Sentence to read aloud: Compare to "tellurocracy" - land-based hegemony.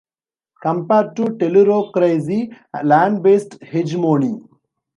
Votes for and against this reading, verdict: 0, 2, rejected